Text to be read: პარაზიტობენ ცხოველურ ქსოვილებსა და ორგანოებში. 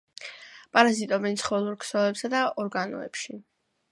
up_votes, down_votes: 2, 0